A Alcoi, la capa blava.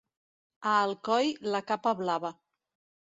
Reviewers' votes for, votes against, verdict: 3, 0, accepted